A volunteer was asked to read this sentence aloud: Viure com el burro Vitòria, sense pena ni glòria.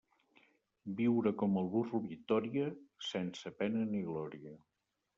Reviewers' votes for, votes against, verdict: 3, 0, accepted